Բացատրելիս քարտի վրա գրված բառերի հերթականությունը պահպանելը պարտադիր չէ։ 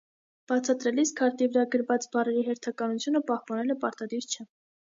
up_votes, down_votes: 2, 0